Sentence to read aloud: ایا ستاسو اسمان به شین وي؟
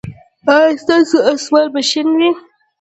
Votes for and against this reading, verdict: 2, 0, accepted